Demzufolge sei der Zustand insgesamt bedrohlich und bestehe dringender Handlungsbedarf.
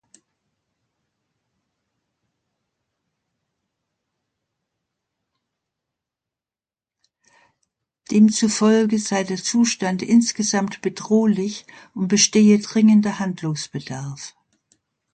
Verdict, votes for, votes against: accepted, 2, 1